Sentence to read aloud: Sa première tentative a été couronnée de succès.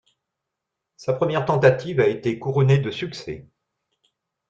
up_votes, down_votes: 2, 0